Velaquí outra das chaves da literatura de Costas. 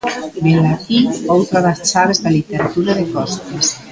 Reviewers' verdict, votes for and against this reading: accepted, 2, 1